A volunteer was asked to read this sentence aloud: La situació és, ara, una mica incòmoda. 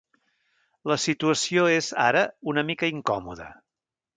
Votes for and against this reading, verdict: 2, 0, accepted